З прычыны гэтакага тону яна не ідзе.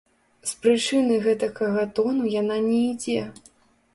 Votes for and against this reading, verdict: 1, 2, rejected